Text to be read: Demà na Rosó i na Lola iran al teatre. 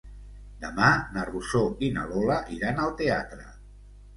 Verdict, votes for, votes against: accepted, 2, 0